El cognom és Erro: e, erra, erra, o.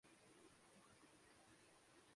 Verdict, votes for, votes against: rejected, 0, 2